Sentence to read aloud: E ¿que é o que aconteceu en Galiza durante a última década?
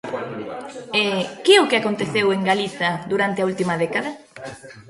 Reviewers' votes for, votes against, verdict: 1, 2, rejected